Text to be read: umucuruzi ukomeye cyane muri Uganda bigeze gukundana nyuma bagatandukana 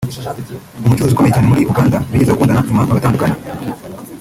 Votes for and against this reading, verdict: 1, 2, rejected